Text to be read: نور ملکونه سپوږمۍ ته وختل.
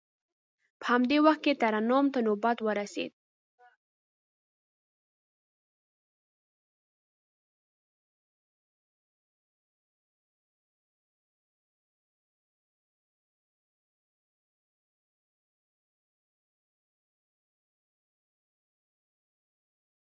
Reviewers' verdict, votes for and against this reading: rejected, 0, 2